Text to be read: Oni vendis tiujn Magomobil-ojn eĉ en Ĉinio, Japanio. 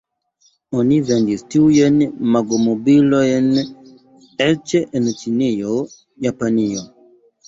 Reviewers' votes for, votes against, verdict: 0, 2, rejected